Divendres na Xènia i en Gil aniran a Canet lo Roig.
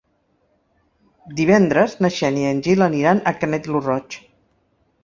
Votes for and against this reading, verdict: 2, 0, accepted